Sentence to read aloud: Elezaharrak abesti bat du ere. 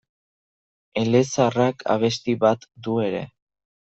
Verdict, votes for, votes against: accepted, 2, 0